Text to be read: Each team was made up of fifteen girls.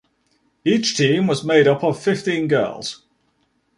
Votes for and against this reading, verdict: 2, 0, accepted